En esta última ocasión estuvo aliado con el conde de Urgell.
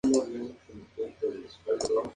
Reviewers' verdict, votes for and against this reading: accepted, 2, 0